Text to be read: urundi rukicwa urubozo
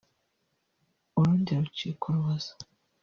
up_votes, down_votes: 1, 2